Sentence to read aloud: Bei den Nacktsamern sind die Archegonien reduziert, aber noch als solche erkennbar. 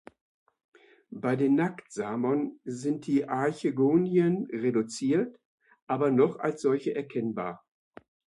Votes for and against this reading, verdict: 2, 0, accepted